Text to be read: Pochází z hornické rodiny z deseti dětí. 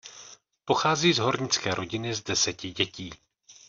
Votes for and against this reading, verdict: 2, 0, accepted